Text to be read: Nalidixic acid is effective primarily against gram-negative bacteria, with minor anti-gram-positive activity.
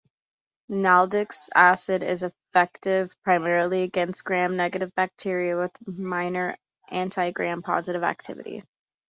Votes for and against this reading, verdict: 2, 0, accepted